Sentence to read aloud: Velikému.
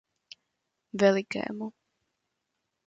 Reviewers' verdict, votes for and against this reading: accepted, 2, 0